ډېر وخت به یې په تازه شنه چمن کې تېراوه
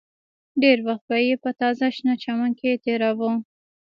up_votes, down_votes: 2, 0